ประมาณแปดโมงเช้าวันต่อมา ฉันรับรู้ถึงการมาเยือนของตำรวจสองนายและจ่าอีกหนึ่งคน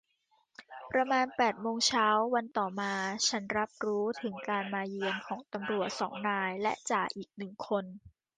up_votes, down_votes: 1, 2